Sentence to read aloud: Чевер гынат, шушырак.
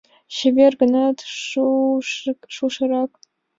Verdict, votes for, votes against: rejected, 1, 2